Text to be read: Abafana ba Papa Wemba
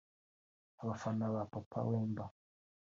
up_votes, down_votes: 3, 1